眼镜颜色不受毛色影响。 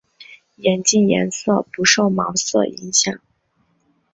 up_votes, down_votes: 2, 1